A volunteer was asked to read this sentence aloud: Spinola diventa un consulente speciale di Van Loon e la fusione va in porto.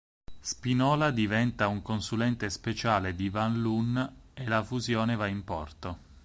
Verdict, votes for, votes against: accepted, 4, 0